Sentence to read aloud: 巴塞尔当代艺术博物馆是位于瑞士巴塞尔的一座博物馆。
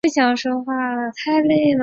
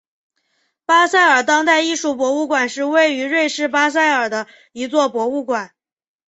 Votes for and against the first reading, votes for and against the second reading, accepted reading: 0, 3, 6, 0, second